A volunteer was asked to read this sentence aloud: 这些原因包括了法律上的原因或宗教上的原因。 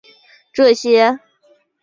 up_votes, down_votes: 1, 2